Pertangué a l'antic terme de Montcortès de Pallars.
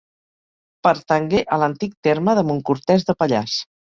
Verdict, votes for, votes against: accepted, 2, 0